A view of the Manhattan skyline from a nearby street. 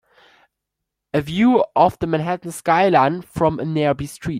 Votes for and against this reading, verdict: 2, 1, accepted